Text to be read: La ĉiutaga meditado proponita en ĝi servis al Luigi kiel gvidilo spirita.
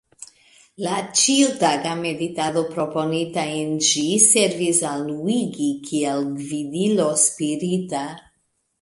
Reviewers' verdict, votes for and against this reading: rejected, 0, 2